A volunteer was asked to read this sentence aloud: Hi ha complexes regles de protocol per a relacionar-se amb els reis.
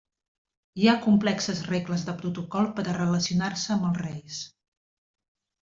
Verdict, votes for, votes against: accepted, 3, 0